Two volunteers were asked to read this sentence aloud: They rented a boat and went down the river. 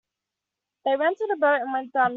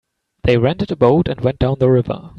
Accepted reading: second